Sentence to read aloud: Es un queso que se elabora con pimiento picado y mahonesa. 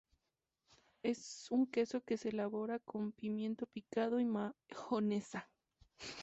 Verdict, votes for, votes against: rejected, 2, 2